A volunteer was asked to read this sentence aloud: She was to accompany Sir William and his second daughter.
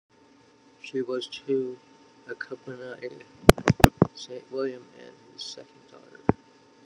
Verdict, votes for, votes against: rejected, 0, 2